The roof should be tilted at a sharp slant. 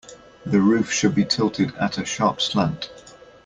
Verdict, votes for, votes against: accepted, 2, 0